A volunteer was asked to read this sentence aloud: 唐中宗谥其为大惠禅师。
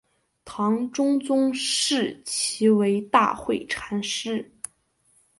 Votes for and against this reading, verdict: 2, 1, accepted